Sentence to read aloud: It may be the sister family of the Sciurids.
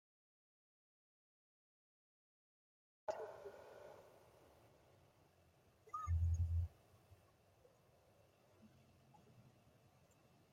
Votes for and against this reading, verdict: 0, 2, rejected